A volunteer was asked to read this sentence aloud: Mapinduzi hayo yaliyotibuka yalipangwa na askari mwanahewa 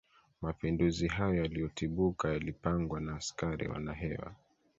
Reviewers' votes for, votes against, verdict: 1, 2, rejected